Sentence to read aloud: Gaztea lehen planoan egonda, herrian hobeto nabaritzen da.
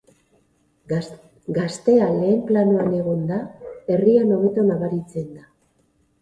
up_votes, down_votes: 0, 2